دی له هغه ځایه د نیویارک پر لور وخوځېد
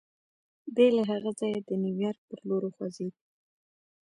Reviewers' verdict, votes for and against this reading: rejected, 0, 2